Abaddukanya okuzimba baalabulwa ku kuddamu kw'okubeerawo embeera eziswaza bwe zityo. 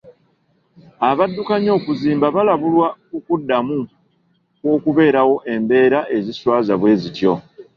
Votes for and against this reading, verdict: 2, 0, accepted